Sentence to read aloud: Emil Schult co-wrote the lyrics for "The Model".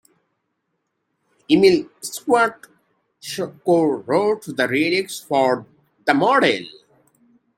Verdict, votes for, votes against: rejected, 0, 2